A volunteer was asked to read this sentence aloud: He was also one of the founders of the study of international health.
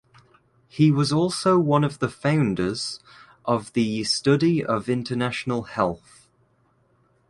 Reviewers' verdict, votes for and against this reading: accepted, 2, 0